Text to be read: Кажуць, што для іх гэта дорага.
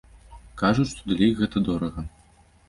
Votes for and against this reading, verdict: 0, 2, rejected